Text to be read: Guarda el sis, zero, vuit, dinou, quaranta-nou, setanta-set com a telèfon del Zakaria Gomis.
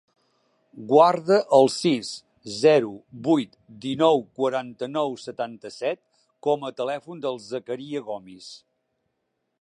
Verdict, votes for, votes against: accepted, 2, 0